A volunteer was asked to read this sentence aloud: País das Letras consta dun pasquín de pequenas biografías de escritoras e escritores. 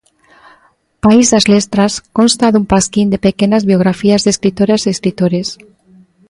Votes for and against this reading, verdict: 0, 2, rejected